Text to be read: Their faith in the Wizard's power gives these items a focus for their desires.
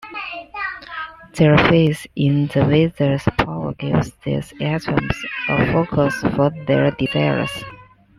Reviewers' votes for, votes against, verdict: 2, 1, accepted